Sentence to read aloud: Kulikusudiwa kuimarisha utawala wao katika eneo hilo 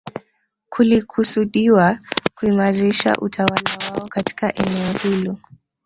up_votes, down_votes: 2, 1